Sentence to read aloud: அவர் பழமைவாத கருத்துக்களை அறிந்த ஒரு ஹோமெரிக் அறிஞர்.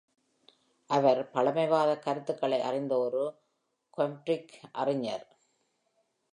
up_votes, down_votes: 1, 2